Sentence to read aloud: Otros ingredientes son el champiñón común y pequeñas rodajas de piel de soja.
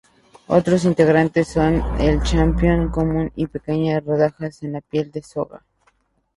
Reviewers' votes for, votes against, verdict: 0, 2, rejected